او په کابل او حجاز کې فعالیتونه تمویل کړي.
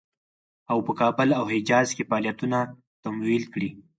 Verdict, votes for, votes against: accepted, 4, 0